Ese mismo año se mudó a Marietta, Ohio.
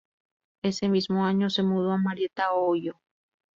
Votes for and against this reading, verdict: 2, 0, accepted